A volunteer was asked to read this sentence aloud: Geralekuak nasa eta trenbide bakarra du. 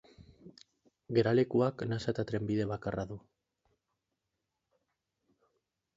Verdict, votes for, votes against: accepted, 20, 4